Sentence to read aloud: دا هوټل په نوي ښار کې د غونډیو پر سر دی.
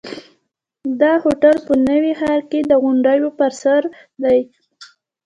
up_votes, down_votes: 2, 1